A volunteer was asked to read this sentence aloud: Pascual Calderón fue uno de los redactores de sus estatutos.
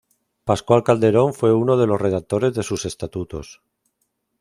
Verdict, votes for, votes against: accepted, 3, 0